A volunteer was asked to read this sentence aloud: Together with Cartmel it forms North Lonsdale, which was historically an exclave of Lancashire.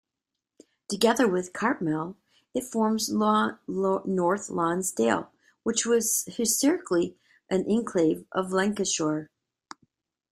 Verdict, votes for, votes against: rejected, 0, 2